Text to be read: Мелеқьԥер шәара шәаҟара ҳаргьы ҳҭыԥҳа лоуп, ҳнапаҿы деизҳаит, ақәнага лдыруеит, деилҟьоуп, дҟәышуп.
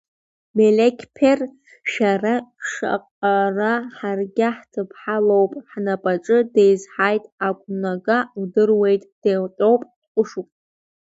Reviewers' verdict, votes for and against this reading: rejected, 0, 2